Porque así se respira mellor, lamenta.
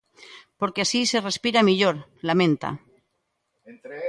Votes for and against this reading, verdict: 2, 0, accepted